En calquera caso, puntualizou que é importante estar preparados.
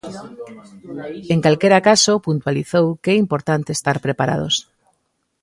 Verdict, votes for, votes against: accepted, 2, 1